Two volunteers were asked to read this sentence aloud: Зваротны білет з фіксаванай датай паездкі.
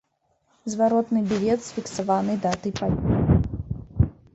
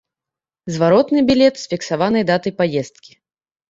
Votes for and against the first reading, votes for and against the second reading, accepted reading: 1, 2, 2, 0, second